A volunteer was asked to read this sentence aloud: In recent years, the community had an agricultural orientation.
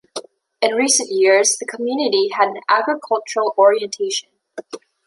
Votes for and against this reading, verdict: 2, 1, accepted